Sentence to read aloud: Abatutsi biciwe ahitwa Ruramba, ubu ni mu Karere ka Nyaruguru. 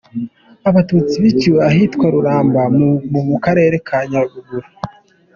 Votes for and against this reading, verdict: 2, 0, accepted